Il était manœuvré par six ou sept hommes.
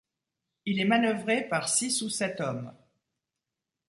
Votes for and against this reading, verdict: 1, 2, rejected